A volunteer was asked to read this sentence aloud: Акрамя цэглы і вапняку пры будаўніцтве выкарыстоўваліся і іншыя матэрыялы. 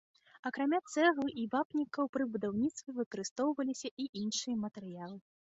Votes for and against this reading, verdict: 2, 1, accepted